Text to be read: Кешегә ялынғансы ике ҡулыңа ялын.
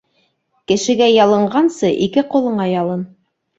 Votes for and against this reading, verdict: 2, 0, accepted